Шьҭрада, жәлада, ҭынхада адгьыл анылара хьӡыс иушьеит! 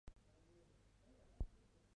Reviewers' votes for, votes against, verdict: 1, 2, rejected